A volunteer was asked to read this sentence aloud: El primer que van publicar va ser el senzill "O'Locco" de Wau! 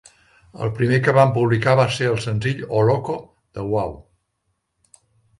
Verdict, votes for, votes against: accepted, 2, 0